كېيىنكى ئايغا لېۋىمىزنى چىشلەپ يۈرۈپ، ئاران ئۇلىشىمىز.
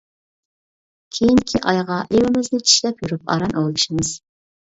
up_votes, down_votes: 2, 0